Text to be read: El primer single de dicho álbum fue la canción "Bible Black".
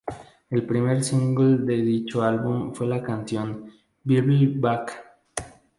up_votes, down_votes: 0, 4